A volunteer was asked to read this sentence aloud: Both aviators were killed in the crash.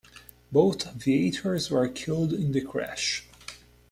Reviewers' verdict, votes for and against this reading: accepted, 2, 0